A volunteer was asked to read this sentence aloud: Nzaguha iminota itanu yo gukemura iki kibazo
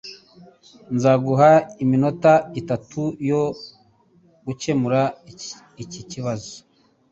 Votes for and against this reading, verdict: 1, 2, rejected